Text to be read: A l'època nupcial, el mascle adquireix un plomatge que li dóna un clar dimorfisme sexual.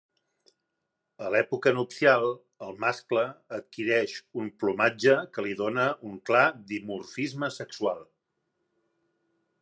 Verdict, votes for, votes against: accepted, 3, 0